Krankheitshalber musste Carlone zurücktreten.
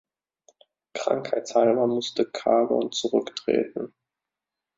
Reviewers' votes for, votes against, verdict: 0, 2, rejected